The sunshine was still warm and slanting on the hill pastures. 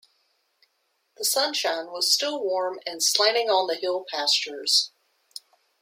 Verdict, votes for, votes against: accepted, 2, 0